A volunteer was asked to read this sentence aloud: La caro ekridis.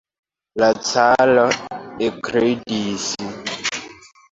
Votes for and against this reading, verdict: 2, 1, accepted